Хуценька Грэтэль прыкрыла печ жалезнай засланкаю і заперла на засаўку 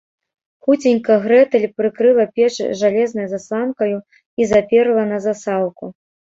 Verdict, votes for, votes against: accepted, 2, 0